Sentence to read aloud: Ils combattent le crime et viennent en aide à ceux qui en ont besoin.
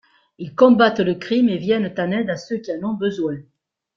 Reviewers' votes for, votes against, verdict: 2, 0, accepted